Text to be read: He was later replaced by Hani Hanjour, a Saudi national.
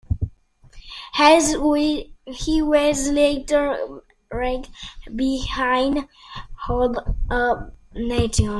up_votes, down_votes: 1, 2